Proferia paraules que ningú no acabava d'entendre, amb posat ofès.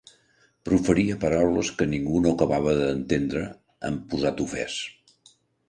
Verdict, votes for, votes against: accepted, 2, 1